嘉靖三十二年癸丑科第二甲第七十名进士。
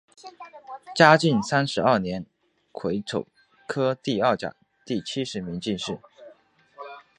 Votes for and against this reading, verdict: 3, 0, accepted